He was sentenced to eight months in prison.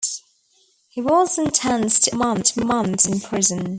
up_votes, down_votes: 0, 2